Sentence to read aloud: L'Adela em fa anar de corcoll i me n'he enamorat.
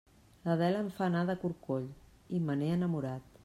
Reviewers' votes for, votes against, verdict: 2, 0, accepted